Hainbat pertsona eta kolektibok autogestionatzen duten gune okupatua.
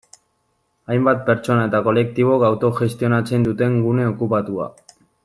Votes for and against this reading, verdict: 1, 2, rejected